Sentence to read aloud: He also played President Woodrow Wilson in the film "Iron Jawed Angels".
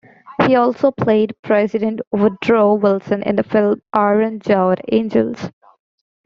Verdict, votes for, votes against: rejected, 0, 2